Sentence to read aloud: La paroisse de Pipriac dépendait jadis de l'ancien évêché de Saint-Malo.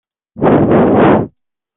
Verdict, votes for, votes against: rejected, 0, 2